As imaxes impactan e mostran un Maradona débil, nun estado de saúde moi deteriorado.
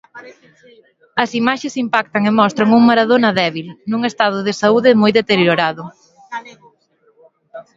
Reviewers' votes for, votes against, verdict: 2, 0, accepted